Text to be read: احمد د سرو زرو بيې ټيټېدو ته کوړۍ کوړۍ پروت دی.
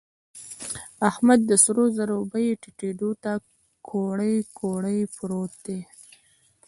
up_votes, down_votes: 1, 2